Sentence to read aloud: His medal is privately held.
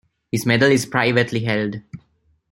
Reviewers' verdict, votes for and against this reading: accepted, 2, 0